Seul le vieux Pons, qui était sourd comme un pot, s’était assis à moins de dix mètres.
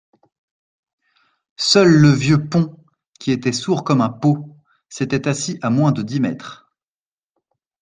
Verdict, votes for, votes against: accepted, 2, 0